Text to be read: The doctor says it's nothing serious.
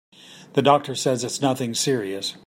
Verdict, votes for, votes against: accepted, 3, 0